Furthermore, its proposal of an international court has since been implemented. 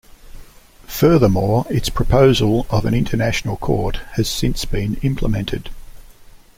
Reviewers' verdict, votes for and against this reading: accepted, 2, 0